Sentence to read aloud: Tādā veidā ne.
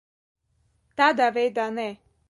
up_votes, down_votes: 1, 3